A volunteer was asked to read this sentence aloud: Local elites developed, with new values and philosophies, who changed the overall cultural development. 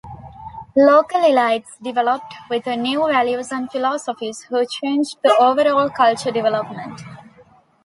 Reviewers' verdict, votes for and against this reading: rejected, 0, 2